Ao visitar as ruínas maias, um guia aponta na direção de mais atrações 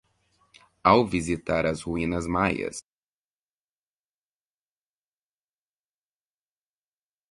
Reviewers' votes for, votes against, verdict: 0, 2, rejected